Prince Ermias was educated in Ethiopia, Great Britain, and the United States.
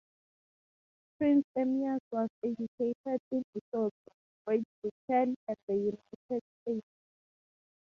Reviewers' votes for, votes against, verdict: 0, 2, rejected